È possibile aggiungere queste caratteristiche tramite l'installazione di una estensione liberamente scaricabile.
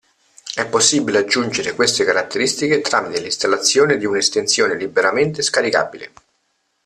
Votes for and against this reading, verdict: 2, 0, accepted